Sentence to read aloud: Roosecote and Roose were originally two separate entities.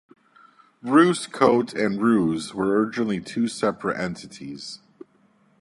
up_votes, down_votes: 0, 2